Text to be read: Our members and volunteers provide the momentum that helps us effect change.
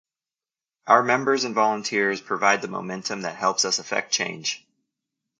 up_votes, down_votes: 2, 0